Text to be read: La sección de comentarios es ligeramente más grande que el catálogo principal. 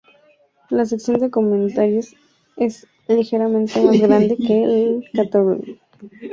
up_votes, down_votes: 0, 2